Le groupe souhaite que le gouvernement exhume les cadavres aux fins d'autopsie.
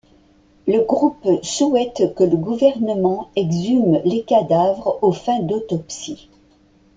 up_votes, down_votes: 2, 0